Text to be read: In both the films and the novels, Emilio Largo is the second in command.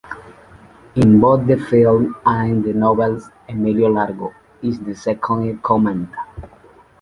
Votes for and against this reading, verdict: 2, 0, accepted